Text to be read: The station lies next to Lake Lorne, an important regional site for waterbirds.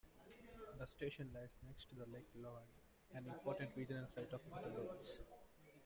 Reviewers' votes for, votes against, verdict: 0, 2, rejected